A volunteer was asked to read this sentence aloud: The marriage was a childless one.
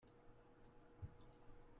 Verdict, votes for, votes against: rejected, 0, 2